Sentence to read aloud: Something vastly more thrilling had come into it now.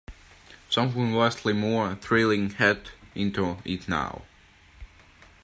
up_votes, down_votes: 0, 2